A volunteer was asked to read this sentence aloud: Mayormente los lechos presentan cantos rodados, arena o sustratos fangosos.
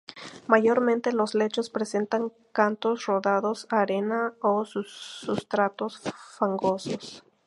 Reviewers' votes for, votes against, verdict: 2, 2, rejected